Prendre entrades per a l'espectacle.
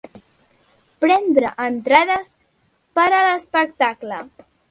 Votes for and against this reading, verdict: 3, 0, accepted